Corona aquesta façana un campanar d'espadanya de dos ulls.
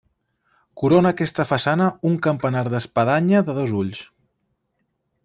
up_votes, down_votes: 3, 0